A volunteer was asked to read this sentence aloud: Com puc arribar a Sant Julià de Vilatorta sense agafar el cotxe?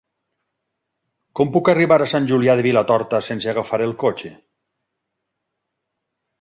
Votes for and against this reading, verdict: 6, 0, accepted